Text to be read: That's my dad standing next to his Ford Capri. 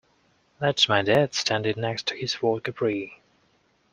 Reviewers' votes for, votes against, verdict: 2, 0, accepted